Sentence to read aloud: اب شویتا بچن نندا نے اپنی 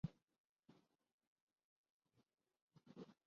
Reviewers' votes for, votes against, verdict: 4, 7, rejected